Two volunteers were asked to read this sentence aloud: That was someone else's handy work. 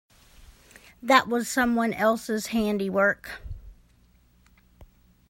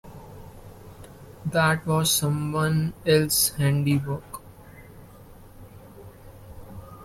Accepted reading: first